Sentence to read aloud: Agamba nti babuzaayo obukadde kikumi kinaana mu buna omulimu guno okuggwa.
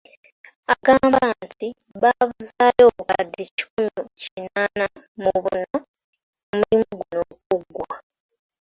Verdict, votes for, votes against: accepted, 2, 1